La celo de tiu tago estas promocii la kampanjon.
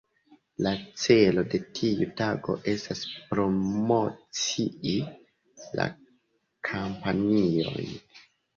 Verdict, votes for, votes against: rejected, 0, 2